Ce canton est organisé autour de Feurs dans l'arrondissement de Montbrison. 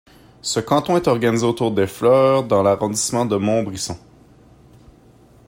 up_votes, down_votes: 0, 2